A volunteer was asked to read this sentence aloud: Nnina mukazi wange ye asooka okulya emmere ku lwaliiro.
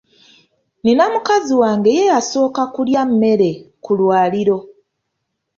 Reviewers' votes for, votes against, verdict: 2, 0, accepted